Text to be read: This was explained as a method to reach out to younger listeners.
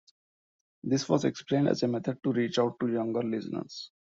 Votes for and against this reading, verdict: 1, 2, rejected